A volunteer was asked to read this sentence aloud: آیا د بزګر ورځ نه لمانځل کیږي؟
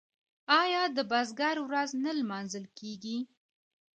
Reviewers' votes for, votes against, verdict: 0, 2, rejected